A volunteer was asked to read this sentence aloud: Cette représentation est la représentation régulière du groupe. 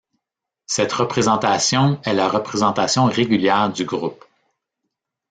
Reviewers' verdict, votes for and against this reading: rejected, 1, 2